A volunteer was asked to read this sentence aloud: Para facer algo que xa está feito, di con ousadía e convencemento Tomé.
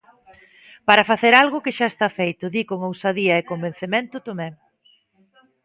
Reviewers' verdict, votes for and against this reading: accepted, 2, 0